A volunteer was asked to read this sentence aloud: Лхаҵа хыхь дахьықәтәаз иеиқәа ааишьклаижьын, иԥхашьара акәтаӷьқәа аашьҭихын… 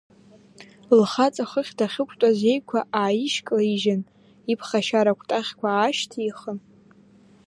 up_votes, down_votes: 0, 2